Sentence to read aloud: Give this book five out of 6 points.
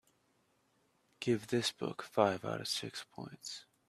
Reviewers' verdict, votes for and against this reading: rejected, 0, 2